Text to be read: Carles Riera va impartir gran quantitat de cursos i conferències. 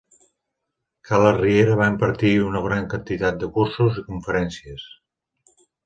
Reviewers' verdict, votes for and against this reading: rejected, 1, 2